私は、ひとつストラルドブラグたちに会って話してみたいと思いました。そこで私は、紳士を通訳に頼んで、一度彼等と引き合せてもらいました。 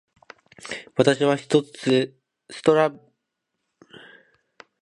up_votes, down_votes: 1, 2